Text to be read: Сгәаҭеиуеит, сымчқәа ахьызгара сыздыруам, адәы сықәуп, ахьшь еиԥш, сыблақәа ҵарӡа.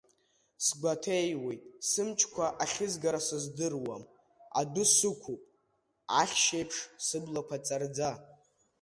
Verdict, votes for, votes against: accepted, 2, 0